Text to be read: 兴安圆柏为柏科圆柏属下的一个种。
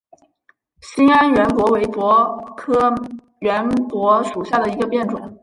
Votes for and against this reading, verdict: 1, 4, rejected